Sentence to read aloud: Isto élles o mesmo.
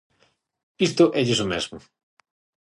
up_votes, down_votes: 6, 0